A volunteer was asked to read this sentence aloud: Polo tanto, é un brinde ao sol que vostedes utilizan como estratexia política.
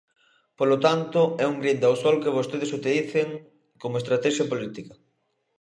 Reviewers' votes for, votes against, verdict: 0, 2, rejected